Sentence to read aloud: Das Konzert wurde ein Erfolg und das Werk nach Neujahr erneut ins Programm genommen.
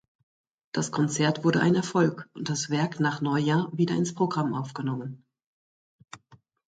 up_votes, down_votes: 1, 2